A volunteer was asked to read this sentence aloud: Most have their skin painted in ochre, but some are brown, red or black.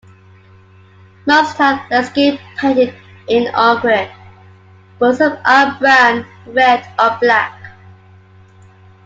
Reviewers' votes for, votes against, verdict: 1, 2, rejected